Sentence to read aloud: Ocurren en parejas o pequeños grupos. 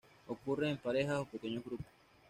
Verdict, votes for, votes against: accepted, 2, 0